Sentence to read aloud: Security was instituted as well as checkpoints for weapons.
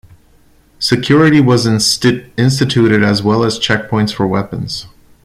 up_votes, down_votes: 0, 2